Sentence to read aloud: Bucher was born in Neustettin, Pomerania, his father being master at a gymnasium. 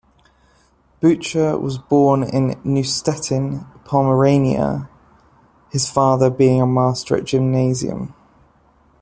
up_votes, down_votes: 2, 0